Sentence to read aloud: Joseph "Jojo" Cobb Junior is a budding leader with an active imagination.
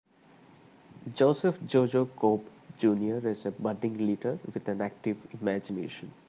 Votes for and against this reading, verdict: 0, 2, rejected